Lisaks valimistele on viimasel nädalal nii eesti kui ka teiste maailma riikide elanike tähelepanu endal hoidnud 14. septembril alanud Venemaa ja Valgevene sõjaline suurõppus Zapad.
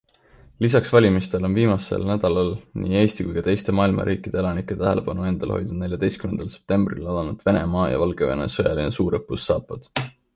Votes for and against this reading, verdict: 0, 2, rejected